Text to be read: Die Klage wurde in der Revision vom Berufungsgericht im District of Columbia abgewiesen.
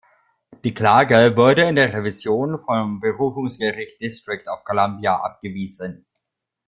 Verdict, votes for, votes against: accepted, 2, 1